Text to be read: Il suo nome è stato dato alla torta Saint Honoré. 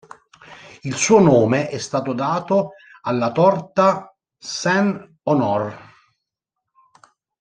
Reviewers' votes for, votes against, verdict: 0, 2, rejected